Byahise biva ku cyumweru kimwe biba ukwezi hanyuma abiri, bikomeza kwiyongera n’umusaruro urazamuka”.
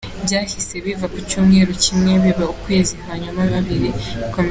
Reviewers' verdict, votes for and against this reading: rejected, 0, 3